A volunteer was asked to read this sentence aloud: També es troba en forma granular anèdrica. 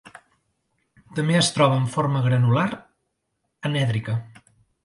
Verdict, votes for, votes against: accepted, 2, 0